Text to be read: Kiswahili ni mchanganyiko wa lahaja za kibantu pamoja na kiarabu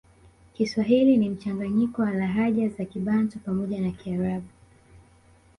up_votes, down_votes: 2, 1